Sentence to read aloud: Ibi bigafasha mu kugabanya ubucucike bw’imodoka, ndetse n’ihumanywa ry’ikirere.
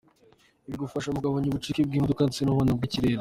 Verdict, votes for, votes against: rejected, 0, 2